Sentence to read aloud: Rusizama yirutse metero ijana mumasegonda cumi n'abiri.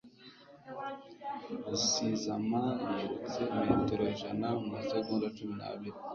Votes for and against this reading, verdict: 2, 0, accepted